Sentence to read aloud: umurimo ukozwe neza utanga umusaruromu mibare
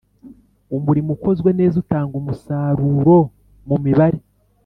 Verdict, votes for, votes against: accepted, 2, 0